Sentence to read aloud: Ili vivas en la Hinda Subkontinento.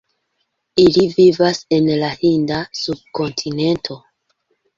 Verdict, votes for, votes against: rejected, 1, 2